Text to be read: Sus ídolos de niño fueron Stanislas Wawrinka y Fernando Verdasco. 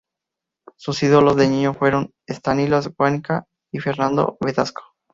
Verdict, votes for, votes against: accepted, 2, 0